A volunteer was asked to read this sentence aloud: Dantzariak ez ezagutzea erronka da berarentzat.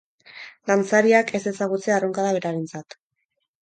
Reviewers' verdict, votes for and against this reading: accepted, 4, 0